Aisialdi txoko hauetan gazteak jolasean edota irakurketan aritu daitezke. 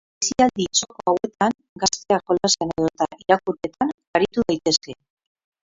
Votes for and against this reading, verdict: 0, 6, rejected